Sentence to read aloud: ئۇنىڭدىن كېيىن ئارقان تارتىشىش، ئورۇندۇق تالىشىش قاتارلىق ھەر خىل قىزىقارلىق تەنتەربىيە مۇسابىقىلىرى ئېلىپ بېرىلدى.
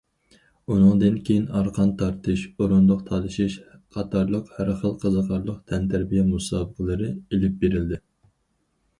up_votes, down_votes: 2, 4